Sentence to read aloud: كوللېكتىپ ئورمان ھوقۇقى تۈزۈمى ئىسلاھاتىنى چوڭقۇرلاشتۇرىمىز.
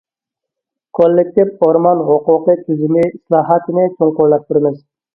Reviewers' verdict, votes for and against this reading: rejected, 0, 2